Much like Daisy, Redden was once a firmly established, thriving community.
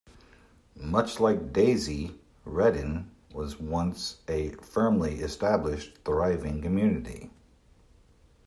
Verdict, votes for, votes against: accepted, 2, 0